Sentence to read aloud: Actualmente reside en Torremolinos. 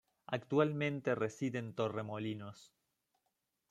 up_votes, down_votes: 2, 0